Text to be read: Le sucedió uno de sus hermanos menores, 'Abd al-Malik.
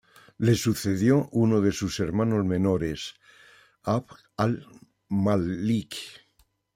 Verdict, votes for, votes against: accepted, 2, 1